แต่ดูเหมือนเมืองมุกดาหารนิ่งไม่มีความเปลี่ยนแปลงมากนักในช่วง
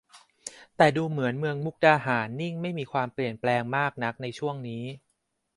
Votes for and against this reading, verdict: 0, 2, rejected